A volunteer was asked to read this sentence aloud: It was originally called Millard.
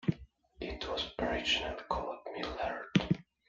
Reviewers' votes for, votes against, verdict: 0, 2, rejected